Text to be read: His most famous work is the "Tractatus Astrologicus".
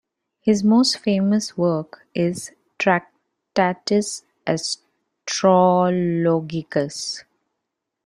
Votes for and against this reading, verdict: 0, 2, rejected